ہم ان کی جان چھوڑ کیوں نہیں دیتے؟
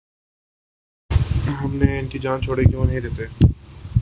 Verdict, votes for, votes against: rejected, 3, 4